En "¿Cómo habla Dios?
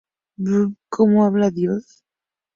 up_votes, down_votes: 2, 0